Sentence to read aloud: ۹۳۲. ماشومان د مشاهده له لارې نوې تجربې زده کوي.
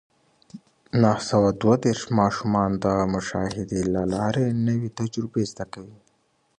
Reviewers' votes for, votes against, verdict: 0, 2, rejected